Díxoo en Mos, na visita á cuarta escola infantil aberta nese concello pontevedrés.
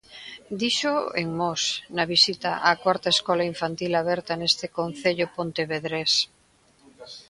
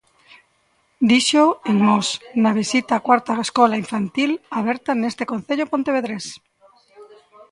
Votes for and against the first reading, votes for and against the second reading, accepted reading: 1, 2, 2, 0, second